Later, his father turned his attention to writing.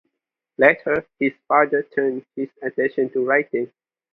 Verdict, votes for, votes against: accepted, 2, 0